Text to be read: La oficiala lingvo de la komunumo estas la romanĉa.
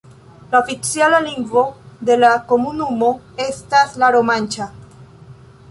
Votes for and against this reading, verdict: 2, 0, accepted